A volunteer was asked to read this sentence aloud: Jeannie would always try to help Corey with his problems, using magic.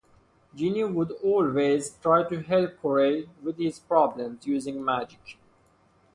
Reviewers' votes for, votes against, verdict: 4, 0, accepted